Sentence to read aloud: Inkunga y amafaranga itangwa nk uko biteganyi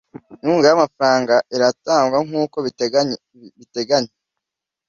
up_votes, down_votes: 1, 2